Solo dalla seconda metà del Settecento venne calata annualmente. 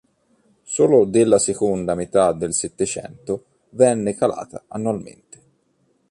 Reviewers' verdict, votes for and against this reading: rejected, 1, 2